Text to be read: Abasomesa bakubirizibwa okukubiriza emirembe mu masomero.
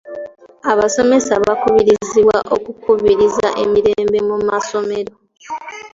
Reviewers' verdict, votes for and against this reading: accepted, 2, 0